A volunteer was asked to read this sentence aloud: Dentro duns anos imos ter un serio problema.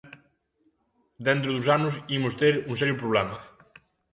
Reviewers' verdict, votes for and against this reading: accepted, 2, 0